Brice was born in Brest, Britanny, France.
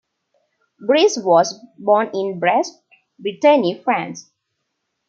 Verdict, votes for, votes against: accepted, 2, 1